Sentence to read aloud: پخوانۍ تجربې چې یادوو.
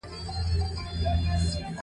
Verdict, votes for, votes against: rejected, 0, 2